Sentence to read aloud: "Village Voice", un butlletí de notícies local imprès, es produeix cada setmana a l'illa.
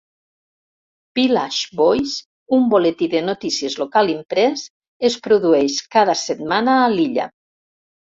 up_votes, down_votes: 1, 2